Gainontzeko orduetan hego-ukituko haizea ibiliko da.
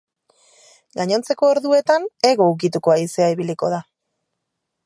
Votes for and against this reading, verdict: 3, 0, accepted